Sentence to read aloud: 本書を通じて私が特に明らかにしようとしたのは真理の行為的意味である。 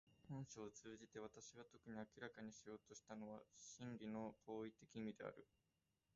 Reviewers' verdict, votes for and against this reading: rejected, 1, 2